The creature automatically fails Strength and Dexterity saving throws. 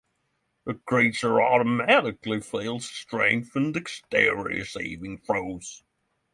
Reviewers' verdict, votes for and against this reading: rejected, 0, 3